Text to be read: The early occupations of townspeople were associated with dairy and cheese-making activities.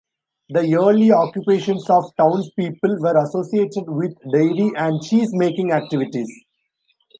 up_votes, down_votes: 2, 0